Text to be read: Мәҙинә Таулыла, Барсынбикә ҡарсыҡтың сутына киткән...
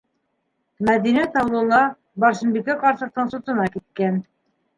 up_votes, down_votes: 2, 1